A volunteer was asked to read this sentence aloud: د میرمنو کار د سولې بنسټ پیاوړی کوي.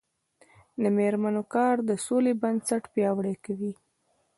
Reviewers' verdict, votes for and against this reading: rejected, 0, 2